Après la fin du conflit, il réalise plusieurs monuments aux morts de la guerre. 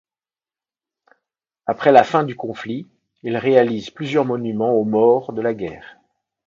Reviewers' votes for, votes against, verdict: 2, 0, accepted